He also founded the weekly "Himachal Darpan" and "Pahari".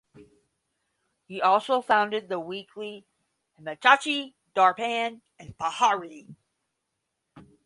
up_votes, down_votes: 0, 10